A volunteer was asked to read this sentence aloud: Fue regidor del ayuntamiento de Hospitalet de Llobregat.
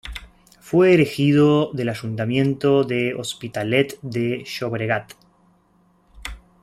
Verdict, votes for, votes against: rejected, 1, 2